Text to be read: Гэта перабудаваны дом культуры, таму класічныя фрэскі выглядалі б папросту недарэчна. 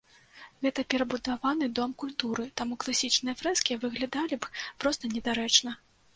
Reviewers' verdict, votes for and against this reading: rejected, 1, 2